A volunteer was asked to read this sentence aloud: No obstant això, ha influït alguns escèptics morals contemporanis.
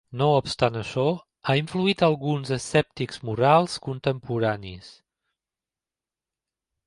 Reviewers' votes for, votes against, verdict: 2, 0, accepted